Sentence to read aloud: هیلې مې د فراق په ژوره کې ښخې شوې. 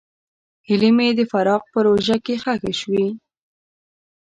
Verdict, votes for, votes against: rejected, 1, 2